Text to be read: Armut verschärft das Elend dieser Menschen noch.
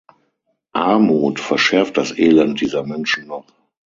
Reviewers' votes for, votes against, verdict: 3, 6, rejected